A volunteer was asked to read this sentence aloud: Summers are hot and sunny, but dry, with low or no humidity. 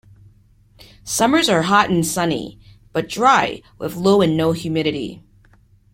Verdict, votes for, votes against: accepted, 2, 0